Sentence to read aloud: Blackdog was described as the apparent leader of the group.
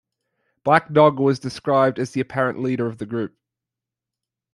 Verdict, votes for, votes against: accepted, 2, 0